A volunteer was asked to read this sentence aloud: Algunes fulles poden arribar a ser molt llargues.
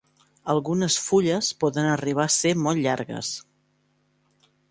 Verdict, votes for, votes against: accepted, 2, 0